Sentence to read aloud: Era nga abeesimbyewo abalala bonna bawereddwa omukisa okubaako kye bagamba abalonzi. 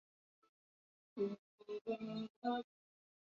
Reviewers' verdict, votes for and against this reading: rejected, 0, 2